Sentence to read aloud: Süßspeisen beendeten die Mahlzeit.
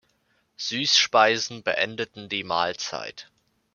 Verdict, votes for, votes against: accepted, 2, 0